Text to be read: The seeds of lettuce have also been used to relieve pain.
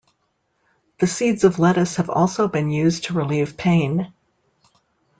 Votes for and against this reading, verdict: 2, 0, accepted